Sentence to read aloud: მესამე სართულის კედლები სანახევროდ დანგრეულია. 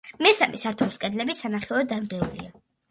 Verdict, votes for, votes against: accepted, 2, 0